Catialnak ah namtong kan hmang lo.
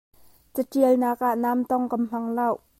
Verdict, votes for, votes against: rejected, 0, 2